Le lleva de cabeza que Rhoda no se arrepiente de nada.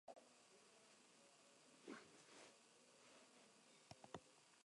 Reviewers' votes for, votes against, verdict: 1, 2, rejected